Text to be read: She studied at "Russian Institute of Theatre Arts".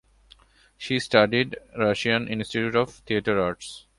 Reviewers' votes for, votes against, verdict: 3, 6, rejected